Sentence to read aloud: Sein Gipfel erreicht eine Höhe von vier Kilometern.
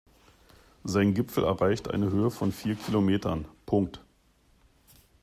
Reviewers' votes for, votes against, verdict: 0, 2, rejected